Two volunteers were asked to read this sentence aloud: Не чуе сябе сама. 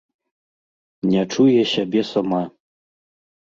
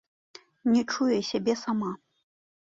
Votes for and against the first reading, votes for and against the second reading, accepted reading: 0, 2, 2, 0, second